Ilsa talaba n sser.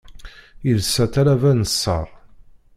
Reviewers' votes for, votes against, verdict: 0, 2, rejected